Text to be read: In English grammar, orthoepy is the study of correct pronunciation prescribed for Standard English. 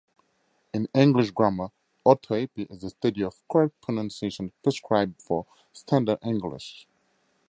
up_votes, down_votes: 2, 0